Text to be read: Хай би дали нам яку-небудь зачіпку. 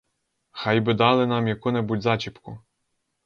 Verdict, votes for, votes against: accepted, 4, 0